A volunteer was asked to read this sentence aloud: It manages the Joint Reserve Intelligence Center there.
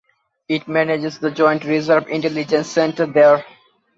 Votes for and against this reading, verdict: 2, 0, accepted